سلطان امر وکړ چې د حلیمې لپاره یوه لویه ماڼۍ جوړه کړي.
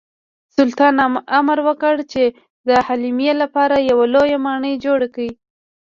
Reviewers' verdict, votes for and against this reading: rejected, 0, 2